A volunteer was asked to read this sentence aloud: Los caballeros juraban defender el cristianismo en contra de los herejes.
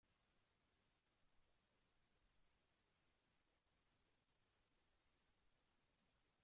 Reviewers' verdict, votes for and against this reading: rejected, 0, 2